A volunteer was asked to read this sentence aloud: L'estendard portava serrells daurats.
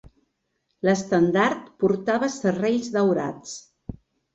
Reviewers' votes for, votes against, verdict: 3, 0, accepted